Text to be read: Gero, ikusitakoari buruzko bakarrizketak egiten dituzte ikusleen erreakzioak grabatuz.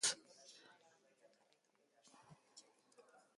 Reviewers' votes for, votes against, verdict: 0, 4, rejected